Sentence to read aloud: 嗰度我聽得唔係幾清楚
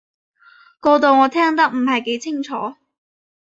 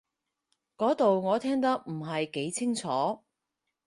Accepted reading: second